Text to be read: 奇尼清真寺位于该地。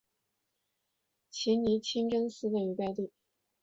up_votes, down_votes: 1, 2